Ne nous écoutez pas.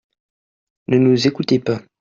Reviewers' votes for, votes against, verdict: 2, 0, accepted